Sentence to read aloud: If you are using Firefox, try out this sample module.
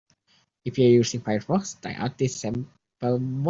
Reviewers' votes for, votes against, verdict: 0, 2, rejected